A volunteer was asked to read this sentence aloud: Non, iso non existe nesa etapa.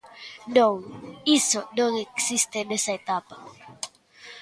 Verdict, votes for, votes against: accepted, 2, 1